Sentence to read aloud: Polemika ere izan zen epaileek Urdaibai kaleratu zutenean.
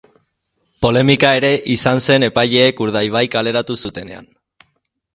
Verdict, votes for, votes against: accepted, 3, 0